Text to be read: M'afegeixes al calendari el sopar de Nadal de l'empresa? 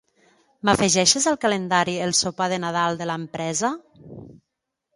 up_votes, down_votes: 3, 0